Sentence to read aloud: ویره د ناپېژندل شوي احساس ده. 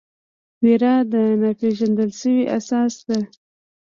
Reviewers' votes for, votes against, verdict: 2, 0, accepted